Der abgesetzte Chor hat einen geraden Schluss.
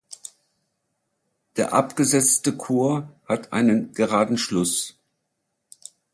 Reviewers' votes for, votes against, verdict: 2, 0, accepted